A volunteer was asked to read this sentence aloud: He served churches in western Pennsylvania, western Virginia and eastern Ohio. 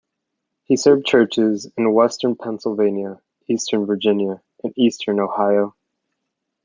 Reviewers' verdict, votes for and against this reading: rejected, 1, 2